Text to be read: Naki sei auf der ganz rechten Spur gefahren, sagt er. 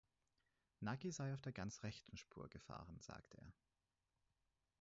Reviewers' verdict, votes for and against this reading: accepted, 4, 0